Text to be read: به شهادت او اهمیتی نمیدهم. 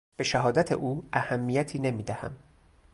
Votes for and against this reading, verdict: 2, 0, accepted